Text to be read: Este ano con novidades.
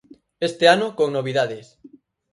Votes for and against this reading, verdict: 4, 0, accepted